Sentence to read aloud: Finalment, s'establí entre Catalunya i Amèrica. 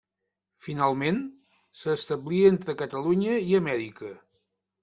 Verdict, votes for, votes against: accepted, 3, 0